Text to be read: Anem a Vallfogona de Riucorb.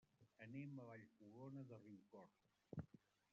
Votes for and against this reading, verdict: 1, 2, rejected